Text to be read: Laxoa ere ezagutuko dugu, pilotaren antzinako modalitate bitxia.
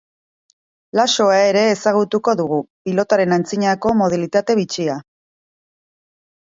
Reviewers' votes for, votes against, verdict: 2, 0, accepted